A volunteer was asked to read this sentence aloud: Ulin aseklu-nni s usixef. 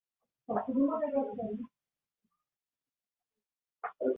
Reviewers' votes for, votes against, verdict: 0, 2, rejected